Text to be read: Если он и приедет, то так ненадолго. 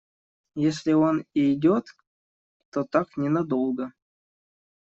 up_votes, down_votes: 1, 2